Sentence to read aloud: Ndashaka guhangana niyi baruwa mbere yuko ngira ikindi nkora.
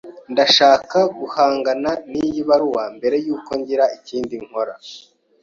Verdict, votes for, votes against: accepted, 2, 0